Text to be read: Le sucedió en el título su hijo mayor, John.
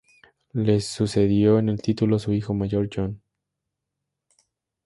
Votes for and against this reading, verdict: 0, 2, rejected